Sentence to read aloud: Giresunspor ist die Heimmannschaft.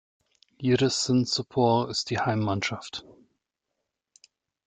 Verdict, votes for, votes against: accepted, 3, 0